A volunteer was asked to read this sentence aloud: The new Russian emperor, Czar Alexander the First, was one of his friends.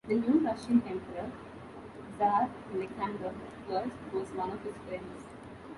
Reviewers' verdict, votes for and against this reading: rejected, 0, 2